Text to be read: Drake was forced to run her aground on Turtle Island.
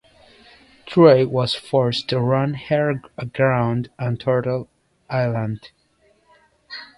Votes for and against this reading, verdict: 2, 0, accepted